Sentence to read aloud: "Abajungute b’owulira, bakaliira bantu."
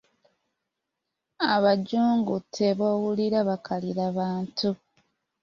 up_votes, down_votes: 2, 0